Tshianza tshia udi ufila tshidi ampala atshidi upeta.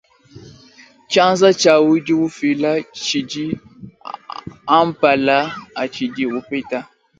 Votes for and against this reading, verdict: 2, 0, accepted